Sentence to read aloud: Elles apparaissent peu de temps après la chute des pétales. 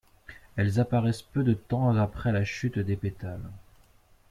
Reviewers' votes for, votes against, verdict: 1, 2, rejected